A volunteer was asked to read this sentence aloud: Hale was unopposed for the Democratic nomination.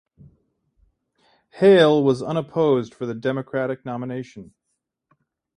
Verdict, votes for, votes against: accepted, 2, 1